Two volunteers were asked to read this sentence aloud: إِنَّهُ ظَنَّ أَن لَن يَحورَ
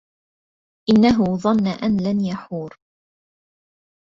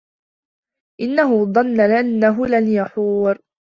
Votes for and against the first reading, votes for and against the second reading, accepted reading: 2, 0, 0, 2, first